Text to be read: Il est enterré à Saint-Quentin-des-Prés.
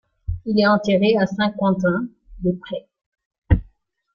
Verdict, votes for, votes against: rejected, 1, 2